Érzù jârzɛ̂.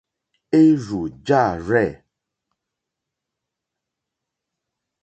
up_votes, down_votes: 0, 2